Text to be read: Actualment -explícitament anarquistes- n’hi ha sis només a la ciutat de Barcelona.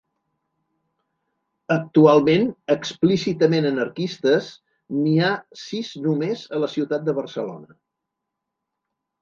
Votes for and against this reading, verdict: 2, 0, accepted